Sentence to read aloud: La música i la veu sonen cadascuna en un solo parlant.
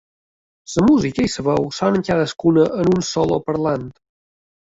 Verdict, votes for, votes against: rejected, 1, 2